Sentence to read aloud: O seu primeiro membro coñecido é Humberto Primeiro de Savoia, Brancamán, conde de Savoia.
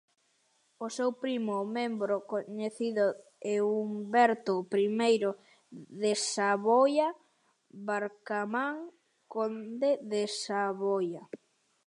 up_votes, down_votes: 0, 2